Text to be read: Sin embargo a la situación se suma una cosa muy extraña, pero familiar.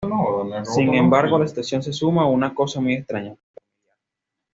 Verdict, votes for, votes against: rejected, 1, 2